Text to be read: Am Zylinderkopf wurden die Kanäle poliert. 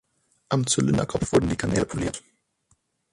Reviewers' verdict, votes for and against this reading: accepted, 6, 0